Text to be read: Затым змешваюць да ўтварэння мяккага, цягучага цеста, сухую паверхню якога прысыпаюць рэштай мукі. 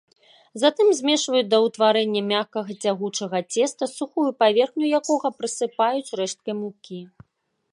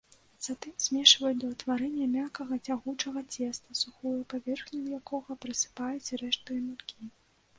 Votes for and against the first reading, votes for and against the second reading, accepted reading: 0, 2, 2, 0, second